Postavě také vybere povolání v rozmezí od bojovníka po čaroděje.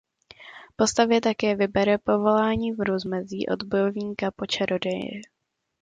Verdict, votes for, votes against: accepted, 2, 1